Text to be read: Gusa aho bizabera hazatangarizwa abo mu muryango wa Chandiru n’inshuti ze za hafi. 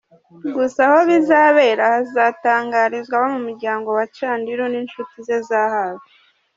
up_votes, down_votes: 4, 0